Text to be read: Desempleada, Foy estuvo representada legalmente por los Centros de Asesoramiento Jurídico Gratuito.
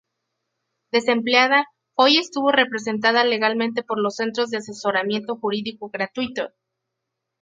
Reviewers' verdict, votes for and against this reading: rejected, 2, 2